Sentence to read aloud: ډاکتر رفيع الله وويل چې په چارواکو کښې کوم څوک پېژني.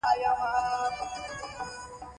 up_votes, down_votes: 2, 1